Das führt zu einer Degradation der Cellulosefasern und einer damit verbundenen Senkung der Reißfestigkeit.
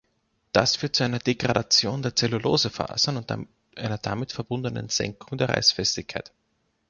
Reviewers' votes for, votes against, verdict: 0, 2, rejected